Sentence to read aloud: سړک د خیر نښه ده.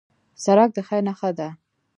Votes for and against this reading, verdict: 2, 0, accepted